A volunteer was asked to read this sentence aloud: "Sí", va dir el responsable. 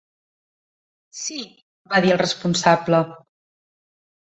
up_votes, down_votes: 1, 2